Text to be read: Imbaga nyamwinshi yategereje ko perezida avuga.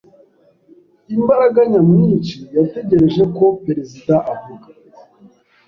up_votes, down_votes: 0, 2